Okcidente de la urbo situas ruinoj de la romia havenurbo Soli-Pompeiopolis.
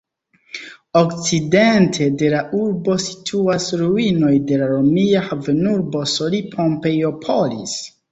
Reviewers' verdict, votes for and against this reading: accepted, 2, 0